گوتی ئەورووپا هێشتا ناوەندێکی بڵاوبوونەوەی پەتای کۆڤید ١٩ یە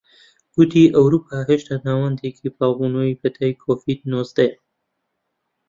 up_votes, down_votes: 0, 2